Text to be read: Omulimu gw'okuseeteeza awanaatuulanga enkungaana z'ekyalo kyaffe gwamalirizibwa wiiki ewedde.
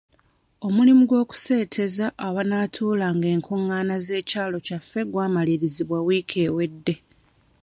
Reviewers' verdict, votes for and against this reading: accepted, 2, 1